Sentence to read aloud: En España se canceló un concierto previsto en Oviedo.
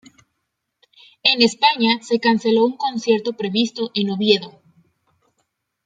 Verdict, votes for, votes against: accepted, 2, 0